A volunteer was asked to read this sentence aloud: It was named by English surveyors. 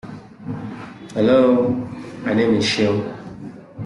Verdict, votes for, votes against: rejected, 1, 2